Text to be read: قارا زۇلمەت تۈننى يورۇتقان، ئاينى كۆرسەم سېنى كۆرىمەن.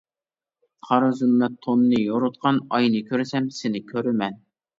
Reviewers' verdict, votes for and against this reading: rejected, 0, 2